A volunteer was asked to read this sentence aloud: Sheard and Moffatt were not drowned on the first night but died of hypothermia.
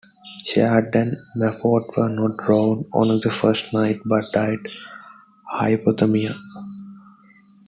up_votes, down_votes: 0, 2